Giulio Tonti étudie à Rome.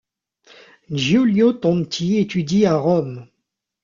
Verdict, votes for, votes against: rejected, 1, 2